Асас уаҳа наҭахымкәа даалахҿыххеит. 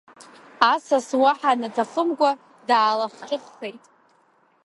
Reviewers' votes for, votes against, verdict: 1, 2, rejected